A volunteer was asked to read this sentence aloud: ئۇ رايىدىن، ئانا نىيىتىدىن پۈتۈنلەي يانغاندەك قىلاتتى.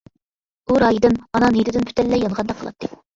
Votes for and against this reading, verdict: 0, 2, rejected